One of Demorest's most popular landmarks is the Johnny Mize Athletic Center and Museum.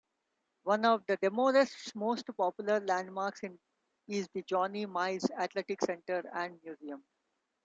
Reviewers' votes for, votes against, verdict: 0, 2, rejected